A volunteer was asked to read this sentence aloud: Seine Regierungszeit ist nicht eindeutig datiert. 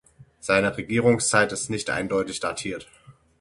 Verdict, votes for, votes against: accepted, 6, 0